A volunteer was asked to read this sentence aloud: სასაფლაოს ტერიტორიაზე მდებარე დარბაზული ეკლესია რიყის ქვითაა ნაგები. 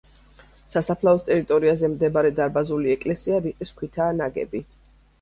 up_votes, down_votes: 2, 0